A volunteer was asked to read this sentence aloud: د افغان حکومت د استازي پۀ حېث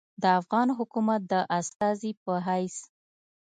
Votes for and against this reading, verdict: 2, 0, accepted